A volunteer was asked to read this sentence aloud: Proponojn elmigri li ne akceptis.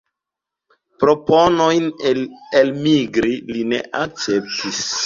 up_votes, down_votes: 0, 2